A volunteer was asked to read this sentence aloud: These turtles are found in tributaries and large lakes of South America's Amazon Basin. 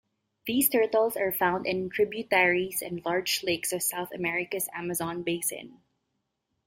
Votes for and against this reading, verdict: 2, 0, accepted